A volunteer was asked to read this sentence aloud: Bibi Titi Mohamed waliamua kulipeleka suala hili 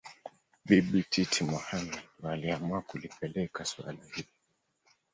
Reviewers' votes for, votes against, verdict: 0, 2, rejected